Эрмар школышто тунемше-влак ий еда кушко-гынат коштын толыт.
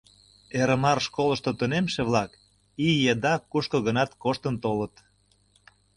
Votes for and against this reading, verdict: 2, 0, accepted